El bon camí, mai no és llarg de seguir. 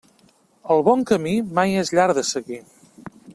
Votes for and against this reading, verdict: 0, 2, rejected